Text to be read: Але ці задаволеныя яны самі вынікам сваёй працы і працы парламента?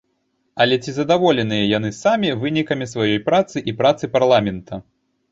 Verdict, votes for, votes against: rejected, 1, 2